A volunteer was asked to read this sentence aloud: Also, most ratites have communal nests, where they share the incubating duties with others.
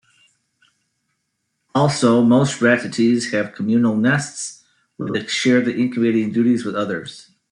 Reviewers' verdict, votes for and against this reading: rejected, 0, 2